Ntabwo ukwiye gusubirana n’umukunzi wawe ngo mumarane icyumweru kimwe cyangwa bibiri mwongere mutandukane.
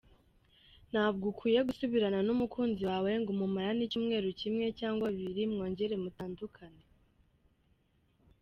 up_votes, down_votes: 3, 0